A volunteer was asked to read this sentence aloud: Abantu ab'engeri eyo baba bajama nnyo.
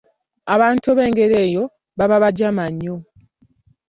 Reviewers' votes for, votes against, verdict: 3, 0, accepted